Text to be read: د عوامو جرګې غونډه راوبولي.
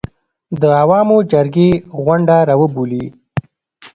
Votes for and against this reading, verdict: 2, 0, accepted